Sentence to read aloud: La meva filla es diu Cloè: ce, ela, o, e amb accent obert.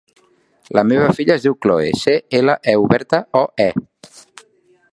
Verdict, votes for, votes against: rejected, 0, 2